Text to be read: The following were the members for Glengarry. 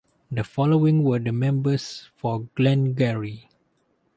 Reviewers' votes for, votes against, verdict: 2, 2, rejected